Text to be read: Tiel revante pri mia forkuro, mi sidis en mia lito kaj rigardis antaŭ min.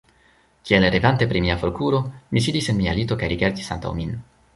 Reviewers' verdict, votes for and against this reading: rejected, 1, 2